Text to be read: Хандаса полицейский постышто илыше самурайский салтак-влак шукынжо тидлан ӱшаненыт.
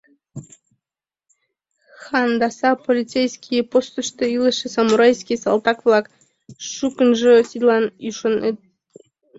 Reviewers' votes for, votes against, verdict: 0, 2, rejected